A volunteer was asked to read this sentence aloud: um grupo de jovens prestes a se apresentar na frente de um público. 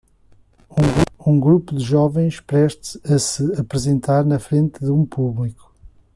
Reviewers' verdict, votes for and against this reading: rejected, 0, 2